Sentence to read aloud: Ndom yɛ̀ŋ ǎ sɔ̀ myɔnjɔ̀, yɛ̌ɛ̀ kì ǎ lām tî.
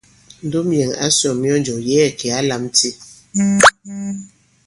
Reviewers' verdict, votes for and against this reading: rejected, 0, 2